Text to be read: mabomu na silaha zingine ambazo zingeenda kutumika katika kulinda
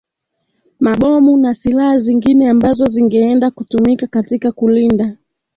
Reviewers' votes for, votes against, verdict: 2, 1, accepted